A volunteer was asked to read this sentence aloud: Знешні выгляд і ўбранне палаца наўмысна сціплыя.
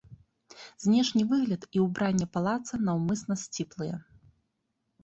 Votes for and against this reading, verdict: 3, 0, accepted